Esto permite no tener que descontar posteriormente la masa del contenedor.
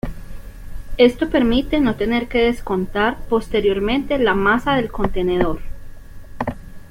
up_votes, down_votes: 2, 0